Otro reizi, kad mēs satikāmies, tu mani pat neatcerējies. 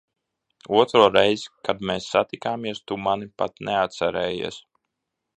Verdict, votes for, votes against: accepted, 2, 0